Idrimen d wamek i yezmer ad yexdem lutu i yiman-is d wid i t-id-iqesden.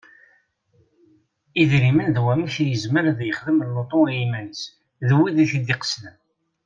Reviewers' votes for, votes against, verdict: 2, 0, accepted